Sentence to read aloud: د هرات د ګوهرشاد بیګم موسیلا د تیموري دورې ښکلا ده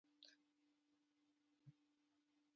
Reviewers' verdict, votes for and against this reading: rejected, 0, 2